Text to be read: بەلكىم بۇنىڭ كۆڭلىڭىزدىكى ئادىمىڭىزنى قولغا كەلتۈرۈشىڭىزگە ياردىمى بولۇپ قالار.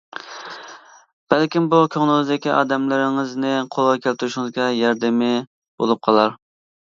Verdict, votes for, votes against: rejected, 1, 2